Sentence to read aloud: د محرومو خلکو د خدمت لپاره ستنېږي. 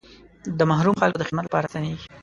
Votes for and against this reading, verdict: 1, 2, rejected